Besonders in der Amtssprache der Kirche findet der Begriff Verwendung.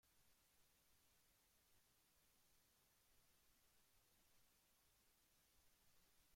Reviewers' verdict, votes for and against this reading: rejected, 0, 2